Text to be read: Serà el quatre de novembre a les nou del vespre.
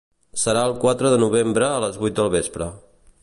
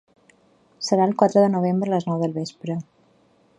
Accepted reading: second